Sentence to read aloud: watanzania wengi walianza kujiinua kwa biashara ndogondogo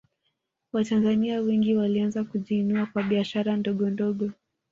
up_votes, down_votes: 3, 0